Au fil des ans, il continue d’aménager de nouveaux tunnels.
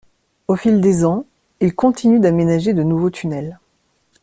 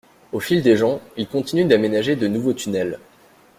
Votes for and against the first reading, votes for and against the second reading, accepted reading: 2, 0, 1, 2, first